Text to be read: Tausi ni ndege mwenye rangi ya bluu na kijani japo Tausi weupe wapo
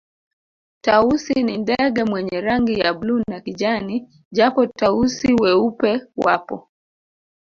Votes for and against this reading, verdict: 1, 2, rejected